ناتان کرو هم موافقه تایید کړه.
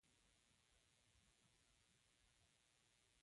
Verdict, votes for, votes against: rejected, 0, 2